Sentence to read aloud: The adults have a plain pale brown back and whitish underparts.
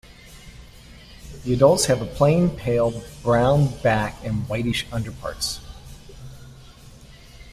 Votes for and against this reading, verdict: 2, 0, accepted